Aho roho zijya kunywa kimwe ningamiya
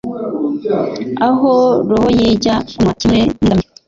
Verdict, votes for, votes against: rejected, 1, 2